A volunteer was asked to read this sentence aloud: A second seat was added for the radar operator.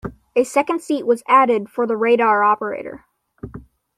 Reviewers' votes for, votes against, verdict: 2, 0, accepted